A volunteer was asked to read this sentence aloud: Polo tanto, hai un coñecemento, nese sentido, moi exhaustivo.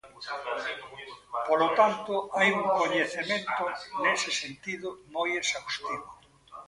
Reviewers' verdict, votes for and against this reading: rejected, 1, 2